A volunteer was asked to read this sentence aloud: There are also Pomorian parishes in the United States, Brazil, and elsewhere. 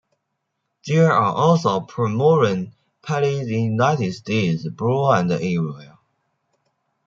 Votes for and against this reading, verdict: 0, 2, rejected